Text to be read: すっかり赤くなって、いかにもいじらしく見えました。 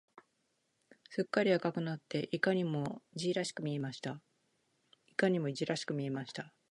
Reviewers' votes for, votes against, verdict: 0, 2, rejected